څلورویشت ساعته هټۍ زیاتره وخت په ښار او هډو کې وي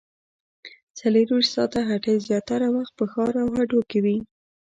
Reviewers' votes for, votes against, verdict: 2, 0, accepted